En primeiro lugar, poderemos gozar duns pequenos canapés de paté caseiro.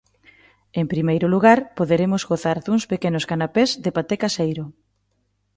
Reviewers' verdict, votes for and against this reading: accepted, 2, 0